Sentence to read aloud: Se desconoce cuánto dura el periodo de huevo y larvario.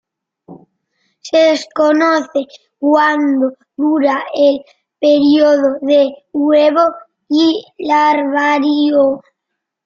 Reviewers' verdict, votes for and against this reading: rejected, 1, 2